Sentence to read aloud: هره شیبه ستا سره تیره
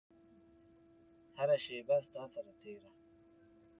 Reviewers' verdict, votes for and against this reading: rejected, 0, 2